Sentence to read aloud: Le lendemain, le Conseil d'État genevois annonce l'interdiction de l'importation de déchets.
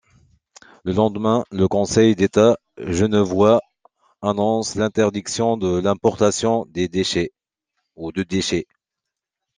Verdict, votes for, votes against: rejected, 0, 2